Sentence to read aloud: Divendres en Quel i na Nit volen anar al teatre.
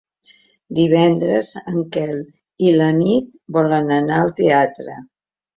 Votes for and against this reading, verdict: 1, 2, rejected